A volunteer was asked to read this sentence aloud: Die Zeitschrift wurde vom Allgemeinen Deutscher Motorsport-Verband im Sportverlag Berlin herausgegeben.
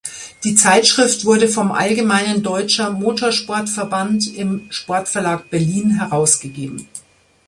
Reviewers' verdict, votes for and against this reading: accepted, 2, 0